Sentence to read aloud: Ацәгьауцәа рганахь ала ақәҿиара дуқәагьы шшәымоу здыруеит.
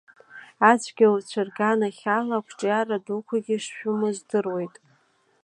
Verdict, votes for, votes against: accepted, 2, 0